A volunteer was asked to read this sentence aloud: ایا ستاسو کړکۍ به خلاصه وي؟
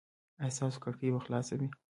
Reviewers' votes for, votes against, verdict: 2, 0, accepted